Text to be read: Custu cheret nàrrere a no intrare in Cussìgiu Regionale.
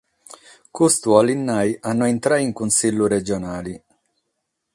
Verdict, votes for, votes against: accepted, 6, 0